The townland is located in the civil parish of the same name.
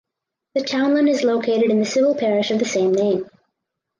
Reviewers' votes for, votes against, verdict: 4, 0, accepted